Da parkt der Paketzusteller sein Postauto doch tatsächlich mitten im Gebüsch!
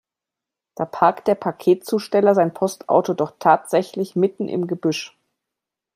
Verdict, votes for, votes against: accepted, 2, 0